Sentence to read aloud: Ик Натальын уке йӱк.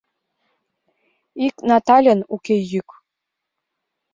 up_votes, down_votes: 2, 0